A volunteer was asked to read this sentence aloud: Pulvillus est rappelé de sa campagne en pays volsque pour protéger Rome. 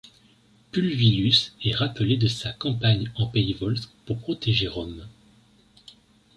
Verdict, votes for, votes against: accepted, 2, 0